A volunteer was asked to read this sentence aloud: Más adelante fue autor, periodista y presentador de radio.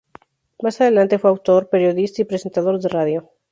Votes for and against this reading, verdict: 2, 0, accepted